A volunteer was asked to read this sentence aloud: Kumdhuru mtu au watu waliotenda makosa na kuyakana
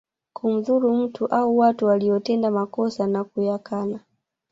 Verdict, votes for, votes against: rejected, 1, 2